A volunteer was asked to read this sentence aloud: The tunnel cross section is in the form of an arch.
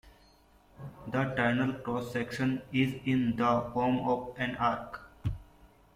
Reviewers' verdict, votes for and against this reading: rejected, 0, 2